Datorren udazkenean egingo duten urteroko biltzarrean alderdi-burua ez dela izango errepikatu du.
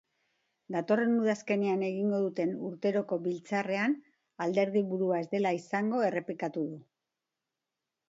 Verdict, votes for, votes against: accepted, 2, 0